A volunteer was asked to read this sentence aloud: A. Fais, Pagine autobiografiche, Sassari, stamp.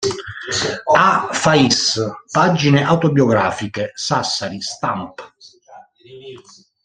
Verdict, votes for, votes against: accepted, 2, 0